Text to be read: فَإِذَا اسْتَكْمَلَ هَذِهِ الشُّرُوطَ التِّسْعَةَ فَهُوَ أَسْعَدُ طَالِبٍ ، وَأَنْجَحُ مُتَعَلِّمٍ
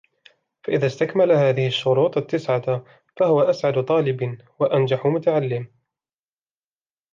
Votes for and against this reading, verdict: 1, 2, rejected